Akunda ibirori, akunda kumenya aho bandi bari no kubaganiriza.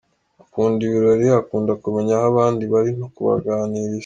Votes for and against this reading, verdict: 2, 0, accepted